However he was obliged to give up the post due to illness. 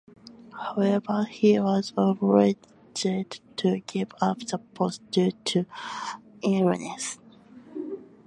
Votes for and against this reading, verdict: 2, 1, accepted